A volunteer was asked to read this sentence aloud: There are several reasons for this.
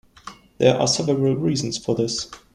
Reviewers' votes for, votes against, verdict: 2, 1, accepted